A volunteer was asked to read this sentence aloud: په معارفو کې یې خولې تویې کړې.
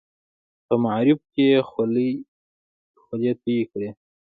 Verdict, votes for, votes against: accepted, 2, 0